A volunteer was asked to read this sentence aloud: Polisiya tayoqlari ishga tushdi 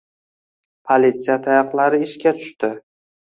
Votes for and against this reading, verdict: 2, 0, accepted